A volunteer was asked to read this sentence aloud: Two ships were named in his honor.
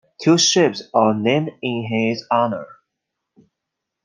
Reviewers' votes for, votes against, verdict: 2, 1, accepted